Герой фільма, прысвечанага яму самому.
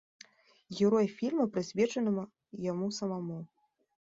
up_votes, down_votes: 2, 1